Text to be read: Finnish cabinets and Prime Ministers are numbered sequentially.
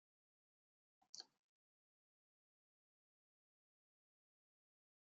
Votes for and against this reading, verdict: 0, 2, rejected